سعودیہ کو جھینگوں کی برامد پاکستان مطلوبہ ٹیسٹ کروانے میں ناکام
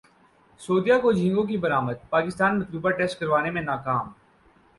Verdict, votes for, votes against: accepted, 4, 0